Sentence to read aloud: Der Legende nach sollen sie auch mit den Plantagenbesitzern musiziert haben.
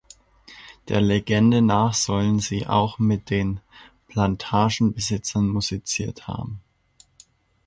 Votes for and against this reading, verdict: 2, 0, accepted